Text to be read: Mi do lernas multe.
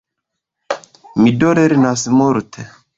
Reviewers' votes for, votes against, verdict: 2, 0, accepted